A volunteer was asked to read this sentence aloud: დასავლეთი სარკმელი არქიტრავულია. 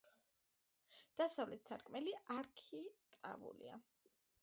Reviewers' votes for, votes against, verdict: 0, 2, rejected